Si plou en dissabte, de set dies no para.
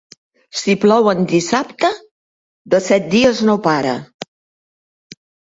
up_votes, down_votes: 2, 0